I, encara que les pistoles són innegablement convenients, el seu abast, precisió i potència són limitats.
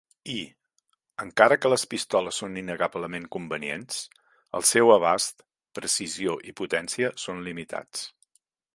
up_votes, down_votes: 0, 2